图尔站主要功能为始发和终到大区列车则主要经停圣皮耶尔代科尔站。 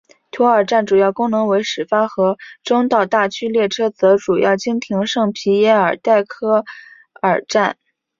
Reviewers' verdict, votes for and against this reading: accepted, 2, 0